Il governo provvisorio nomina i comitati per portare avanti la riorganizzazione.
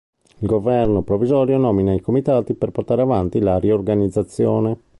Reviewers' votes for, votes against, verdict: 2, 0, accepted